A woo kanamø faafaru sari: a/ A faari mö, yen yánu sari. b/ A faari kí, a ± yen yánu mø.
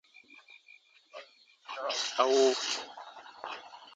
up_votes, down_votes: 0, 2